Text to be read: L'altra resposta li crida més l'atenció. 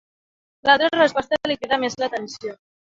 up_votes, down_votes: 2, 4